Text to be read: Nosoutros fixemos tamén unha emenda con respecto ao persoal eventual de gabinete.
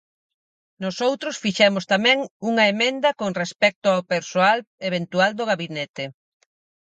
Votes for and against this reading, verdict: 0, 4, rejected